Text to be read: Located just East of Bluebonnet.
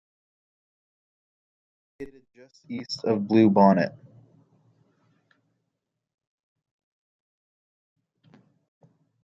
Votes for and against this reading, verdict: 1, 2, rejected